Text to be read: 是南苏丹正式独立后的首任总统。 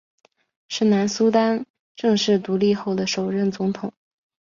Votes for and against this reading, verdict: 2, 0, accepted